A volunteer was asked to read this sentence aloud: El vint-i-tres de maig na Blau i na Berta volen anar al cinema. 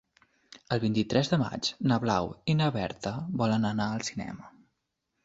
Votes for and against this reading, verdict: 3, 0, accepted